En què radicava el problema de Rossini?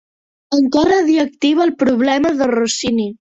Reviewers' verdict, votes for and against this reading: rejected, 0, 2